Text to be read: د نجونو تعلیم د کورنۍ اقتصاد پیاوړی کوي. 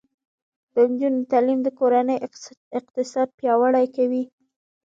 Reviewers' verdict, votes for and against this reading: rejected, 1, 2